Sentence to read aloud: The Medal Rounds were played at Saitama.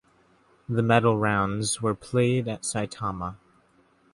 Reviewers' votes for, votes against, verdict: 2, 0, accepted